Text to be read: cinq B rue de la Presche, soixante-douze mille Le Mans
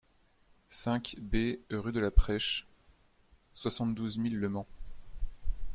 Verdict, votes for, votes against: accepted, 2, 0